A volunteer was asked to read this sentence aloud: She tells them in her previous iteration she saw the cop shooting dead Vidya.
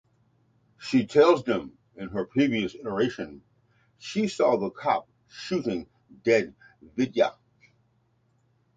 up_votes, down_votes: 2, 0